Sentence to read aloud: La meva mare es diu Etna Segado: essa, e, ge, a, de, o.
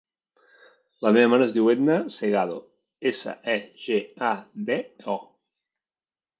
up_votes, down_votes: 0, 2